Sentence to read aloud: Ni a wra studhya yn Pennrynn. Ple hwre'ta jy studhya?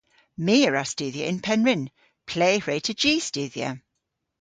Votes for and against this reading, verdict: 1, 2, rejected